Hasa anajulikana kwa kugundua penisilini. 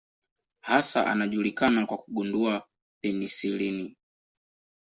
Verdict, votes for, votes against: accepted, 2, 0